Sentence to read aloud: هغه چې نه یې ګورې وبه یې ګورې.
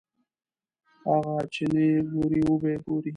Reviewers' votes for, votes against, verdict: 0, 2, rejected